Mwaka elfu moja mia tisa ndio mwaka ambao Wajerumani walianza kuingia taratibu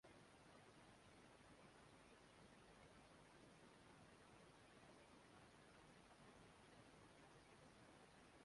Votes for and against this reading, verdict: 0, 4, rejected